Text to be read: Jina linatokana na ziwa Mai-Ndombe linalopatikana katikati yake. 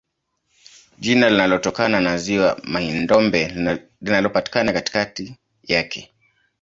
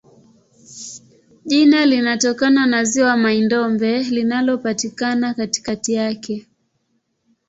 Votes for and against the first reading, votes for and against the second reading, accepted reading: 1, 2, 2, 0, second